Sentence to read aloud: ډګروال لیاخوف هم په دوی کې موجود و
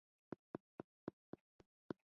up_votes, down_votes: 0, 2